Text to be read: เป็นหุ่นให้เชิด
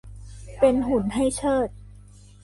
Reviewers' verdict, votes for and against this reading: accepted, 2, 0